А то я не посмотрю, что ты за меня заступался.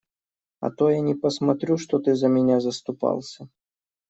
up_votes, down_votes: 2, 0